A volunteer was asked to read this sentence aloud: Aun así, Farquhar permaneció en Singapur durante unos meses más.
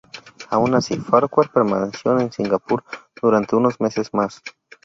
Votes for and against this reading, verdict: 0, 2, rejected